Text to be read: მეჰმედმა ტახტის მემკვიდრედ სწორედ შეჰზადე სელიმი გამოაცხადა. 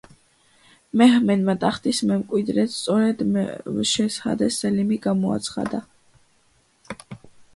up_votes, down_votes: 0, 2